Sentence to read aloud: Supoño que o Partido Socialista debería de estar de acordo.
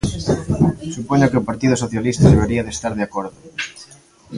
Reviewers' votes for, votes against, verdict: 2, 0, accepted